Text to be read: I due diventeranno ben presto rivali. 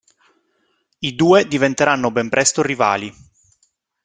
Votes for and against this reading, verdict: 2, 0, accepted